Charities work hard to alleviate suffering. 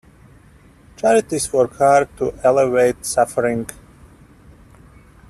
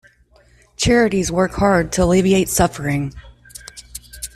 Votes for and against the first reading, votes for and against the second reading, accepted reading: 0, 2, 2, 0, second